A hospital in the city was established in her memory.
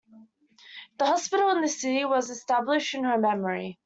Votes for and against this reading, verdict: 2, 0, accepted